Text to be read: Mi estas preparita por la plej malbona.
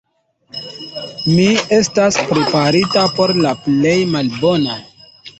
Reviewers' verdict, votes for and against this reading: rejected, 1, 2